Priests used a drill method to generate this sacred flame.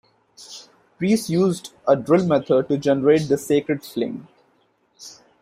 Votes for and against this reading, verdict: 2, 0, accepted